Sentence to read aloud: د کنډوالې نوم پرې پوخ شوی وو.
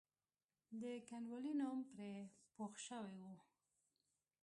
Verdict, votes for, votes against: rejected, 1, 2